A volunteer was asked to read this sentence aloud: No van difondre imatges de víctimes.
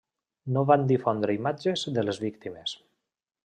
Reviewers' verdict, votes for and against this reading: rejected, 0, 2